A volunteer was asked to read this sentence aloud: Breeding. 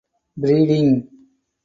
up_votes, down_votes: 2, 4